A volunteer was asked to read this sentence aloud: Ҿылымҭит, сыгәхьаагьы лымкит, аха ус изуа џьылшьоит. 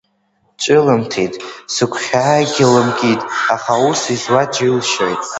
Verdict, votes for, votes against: accepted, 2, 0